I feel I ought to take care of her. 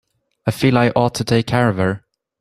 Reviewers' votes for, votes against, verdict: 2, 0, accepted